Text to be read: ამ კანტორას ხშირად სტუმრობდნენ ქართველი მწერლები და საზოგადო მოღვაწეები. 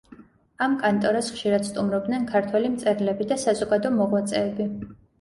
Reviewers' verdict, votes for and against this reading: accepted, 2, 0